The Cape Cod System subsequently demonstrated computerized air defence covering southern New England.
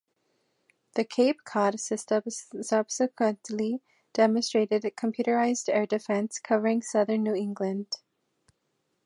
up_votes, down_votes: 2, 0